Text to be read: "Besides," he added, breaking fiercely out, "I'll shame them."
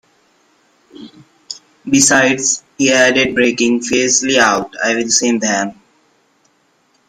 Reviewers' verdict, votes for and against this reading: rejected, 0, 2